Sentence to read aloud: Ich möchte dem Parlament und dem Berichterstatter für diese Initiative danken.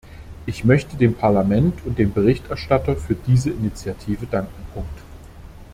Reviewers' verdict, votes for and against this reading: rejected, 0, 2